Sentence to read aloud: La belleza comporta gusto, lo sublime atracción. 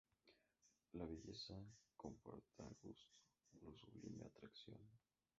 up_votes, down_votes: 0, 2